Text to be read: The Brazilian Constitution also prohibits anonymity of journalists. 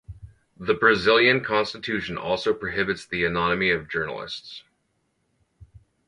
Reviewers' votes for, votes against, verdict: 2, 2, rejected